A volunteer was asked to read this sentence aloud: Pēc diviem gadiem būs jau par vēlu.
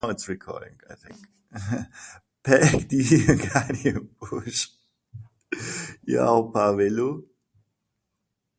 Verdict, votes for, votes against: rejected, 0, 2